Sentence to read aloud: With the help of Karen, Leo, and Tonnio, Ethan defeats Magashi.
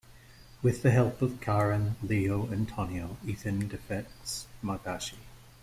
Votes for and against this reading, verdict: 0, 2, rejected